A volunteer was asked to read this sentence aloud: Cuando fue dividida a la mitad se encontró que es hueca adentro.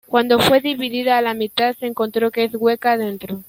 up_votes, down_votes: 1, 2